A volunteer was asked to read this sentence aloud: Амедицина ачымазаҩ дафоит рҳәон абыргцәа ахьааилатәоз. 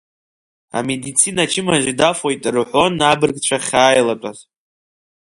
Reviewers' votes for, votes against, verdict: 1, 2, rejected